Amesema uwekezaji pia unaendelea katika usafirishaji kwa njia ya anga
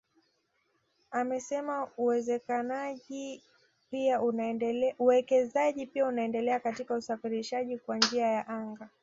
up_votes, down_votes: 1, 2